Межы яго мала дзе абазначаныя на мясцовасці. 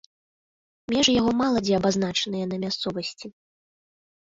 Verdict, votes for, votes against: accepted, 2, 0